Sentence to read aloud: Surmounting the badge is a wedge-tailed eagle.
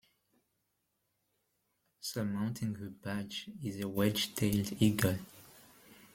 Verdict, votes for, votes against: accepted, 2, 0